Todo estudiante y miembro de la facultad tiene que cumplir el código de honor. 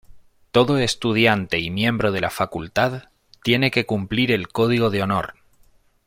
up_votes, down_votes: 2, 0